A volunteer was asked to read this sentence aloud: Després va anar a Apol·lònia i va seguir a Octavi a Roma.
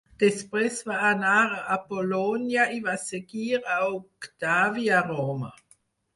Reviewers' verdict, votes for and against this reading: accepted, 4, 0